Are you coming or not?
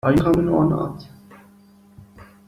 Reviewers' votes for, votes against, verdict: 1, 2, rejected